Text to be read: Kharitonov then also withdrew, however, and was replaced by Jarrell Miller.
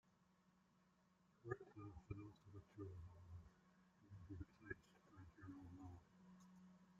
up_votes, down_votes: 0, 2